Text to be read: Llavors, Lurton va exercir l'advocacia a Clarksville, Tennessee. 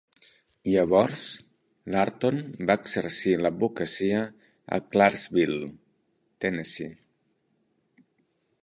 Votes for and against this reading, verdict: 2, 0, accepted